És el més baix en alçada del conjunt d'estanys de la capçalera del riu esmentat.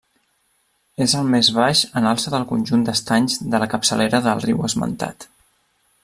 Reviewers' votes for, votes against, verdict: 1, 2, rejected